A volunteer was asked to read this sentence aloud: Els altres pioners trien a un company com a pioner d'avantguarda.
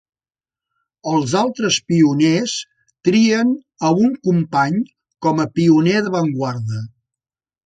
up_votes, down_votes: 2, 0